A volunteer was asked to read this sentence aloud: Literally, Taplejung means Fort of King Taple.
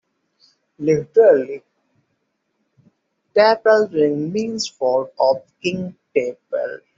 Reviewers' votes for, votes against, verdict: 0, 2, rejected